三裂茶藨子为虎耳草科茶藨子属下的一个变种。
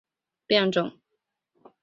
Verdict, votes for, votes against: accepted, 2, 0